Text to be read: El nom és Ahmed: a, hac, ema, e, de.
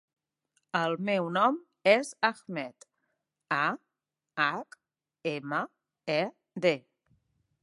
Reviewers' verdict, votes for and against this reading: rejected, 1, 2